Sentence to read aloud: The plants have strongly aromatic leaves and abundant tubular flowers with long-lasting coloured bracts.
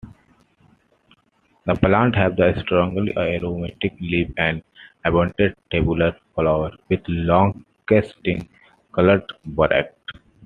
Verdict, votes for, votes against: accepted, 2, 1